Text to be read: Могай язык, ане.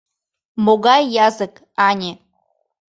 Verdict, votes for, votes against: accepted, 2, 0